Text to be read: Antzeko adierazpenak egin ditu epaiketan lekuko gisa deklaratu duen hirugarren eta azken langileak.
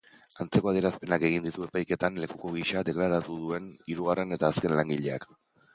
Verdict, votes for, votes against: accepted, 4, 0